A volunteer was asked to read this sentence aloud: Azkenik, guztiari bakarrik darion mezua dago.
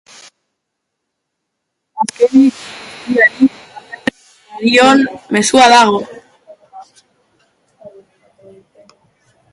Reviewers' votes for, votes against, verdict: 1, 2, rejected